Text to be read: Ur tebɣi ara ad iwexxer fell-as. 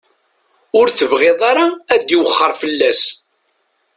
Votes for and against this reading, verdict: 1, 2, rejected